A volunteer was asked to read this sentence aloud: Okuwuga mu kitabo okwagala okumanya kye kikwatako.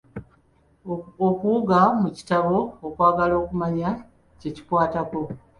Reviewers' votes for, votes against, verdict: 2, 0, accepted